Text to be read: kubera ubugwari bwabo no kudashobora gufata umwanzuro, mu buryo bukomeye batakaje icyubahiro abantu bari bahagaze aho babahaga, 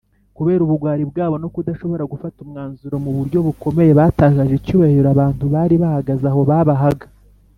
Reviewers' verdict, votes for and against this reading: accepted, 3, 0